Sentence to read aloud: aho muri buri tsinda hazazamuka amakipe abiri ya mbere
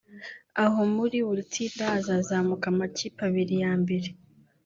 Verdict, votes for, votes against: rejected, 0, 2